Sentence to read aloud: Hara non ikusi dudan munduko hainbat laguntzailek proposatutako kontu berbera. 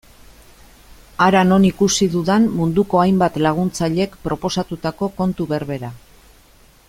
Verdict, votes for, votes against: accepted, 2, 0